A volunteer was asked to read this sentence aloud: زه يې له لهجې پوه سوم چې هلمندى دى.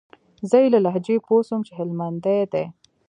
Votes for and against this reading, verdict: 2, 0, accepted